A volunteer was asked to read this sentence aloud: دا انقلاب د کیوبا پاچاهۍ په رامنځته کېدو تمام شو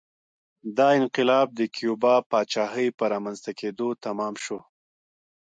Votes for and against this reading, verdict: 2, 1, accepted